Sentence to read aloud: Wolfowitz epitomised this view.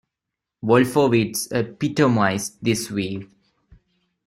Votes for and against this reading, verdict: 1, 2, rejected